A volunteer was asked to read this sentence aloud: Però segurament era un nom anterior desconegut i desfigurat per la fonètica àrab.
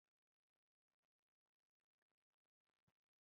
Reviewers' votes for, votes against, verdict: 1, 2, rejected